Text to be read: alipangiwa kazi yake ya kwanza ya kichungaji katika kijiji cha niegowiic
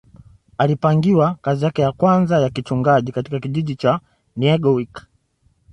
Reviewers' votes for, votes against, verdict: 2, 0, accepted